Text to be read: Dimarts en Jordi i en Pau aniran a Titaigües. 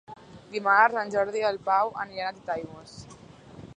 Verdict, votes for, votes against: rejected, 0, 2